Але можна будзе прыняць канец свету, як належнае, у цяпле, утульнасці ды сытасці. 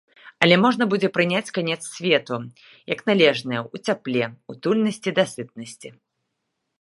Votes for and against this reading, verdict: 0, 2, rejected